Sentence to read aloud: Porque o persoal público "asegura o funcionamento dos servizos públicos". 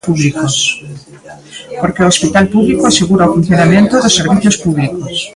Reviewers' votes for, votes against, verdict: 0, 2, rejected